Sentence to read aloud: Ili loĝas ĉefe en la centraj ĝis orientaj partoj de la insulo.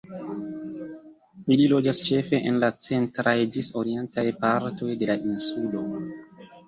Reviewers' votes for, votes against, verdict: 2, 0, accepted